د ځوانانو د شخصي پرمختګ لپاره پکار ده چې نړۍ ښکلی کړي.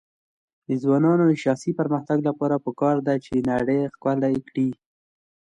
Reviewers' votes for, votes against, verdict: 2, 0, accepted